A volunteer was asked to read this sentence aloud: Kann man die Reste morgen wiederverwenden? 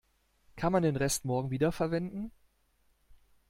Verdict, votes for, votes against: rejected, 1, 2